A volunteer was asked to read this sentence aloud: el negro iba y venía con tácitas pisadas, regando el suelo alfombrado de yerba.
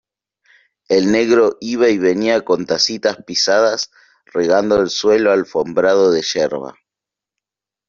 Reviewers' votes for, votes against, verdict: 0, 2, rejected